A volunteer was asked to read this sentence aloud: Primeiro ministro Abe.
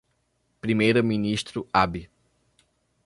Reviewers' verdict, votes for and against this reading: rejected, 1, 2